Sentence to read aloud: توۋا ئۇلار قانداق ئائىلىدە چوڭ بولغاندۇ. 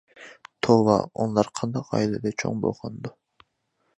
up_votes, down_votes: 0, 2